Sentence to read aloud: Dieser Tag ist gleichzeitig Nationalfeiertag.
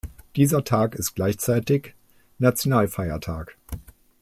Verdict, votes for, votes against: accepted, 2, 0